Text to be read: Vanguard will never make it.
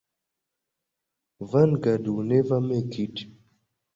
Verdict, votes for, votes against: accepted, 2, 1